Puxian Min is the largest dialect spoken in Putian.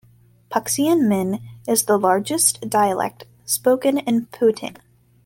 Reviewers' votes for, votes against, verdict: 2, 0, accepted